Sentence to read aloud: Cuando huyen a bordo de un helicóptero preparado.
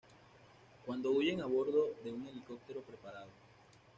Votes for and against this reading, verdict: 1, 2, rejected